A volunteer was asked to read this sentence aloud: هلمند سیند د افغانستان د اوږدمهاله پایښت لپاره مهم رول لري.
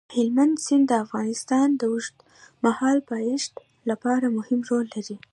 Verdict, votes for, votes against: accepted, 2, 0